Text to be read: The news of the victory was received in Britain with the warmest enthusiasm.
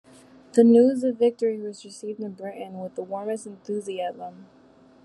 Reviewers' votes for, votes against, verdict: 1, 2, rejected